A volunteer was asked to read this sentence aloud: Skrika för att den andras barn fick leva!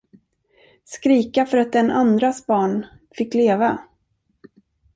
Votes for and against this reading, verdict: 2, 0, accepted